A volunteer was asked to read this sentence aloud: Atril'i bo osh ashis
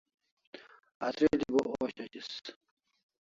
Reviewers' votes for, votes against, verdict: 1, 2, rejected